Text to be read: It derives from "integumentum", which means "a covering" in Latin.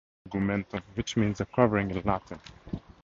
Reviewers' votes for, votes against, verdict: 2, 0, accepted